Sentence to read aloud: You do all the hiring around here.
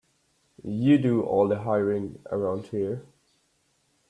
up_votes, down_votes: 2, 0